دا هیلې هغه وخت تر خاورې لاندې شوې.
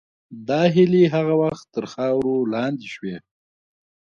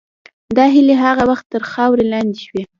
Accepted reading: first